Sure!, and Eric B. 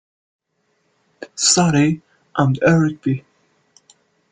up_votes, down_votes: 1, 2